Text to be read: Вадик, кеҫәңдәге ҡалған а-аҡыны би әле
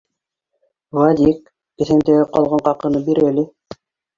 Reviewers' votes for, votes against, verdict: 0, 2, rejected